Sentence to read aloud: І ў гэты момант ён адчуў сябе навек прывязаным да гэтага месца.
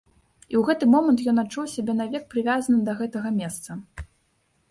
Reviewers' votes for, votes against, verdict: 2, 0, accepted